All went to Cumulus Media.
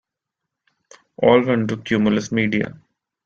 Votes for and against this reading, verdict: 2, 0, accepted